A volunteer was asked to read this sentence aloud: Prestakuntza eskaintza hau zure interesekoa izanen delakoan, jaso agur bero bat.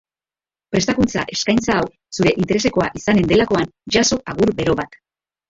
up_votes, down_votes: 3, 0